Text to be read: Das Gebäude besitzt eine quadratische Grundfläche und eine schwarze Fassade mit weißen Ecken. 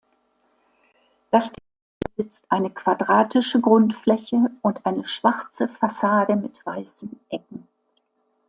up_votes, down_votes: 0, 2